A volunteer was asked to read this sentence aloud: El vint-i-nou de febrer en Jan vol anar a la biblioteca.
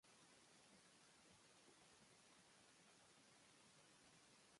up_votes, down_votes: 0, 2